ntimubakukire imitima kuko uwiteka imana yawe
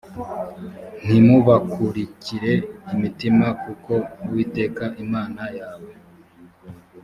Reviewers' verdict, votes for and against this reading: rejected, 1, 3